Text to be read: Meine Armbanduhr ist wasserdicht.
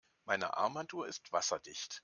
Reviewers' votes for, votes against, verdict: 2, 0, accepted